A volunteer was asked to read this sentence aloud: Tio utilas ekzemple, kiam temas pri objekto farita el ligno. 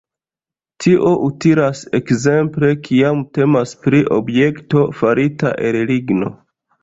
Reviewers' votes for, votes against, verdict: 1, 2, rejected